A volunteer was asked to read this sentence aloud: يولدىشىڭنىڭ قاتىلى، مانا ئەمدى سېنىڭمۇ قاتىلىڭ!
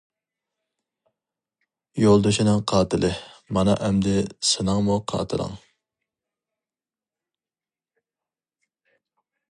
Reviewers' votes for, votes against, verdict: 0, 2, rejected